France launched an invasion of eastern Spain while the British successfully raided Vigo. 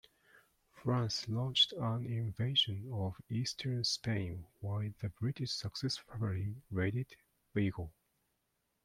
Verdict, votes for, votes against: rejected, 1, 2